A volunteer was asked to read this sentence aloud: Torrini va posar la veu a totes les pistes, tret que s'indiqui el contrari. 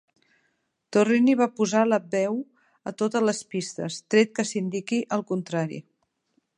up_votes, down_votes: 1, 2